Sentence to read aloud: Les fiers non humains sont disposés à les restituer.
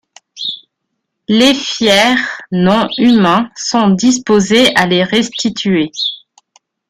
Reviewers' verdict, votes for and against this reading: rejected, 0, 2